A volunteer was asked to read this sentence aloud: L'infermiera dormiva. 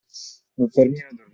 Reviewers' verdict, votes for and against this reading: rejected, 0, 2